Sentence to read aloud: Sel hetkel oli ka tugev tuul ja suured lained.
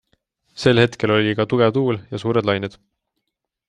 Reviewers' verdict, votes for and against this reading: accepted, 2, 0